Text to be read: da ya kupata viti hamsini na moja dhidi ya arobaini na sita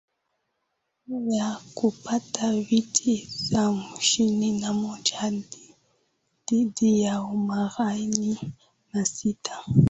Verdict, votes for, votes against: accepted, 2, 0